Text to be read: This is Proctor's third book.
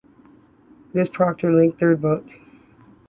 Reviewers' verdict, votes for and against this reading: rejected, 1, 2